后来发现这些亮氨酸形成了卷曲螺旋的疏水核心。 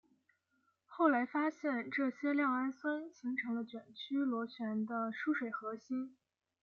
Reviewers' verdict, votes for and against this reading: accepted, 2, 0